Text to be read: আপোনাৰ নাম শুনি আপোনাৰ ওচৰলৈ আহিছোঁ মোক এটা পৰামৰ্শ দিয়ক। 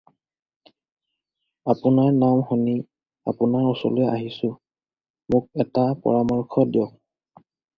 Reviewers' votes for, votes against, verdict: 2, 2, rejected